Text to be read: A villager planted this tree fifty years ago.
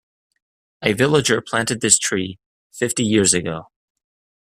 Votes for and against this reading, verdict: 2, 0, accepted